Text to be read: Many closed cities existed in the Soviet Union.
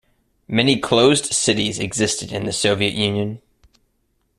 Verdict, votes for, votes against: accepted, 2, 0